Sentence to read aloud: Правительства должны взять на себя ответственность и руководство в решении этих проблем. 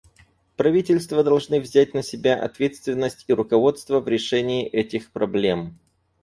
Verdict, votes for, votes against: accepted, 4, 0